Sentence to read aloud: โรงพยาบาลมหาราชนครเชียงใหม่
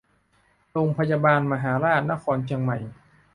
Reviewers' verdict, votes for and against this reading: accepted, 2, 0